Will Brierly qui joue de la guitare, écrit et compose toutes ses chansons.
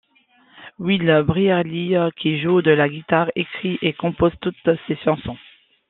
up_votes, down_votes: 2, 1